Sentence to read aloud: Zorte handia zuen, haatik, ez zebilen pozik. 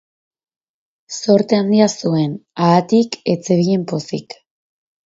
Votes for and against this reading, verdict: 2, 2, rejected